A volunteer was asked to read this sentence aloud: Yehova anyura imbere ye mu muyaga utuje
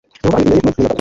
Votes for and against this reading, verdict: 0, 2, rejected